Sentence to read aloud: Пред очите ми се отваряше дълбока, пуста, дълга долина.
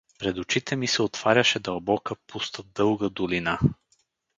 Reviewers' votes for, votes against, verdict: 4, 0, accepted